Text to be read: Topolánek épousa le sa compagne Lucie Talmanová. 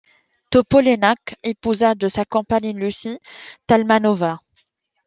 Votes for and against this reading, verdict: 1, 2, rejected